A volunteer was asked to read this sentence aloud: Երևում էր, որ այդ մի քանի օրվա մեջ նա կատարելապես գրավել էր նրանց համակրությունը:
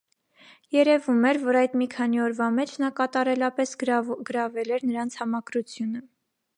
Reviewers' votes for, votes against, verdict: 0, 2, rejected